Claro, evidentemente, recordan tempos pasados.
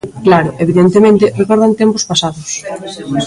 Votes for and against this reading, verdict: 2, 0, accepted